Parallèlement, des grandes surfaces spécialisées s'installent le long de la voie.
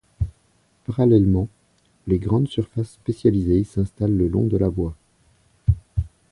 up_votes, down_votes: 1, 2